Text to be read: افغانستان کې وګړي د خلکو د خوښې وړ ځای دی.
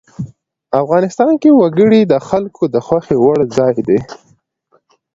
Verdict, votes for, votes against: accepted, 2, 0